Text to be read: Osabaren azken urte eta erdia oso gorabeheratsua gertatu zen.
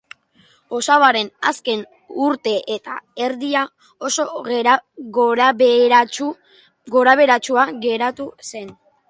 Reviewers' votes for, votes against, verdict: 1, 3, rejected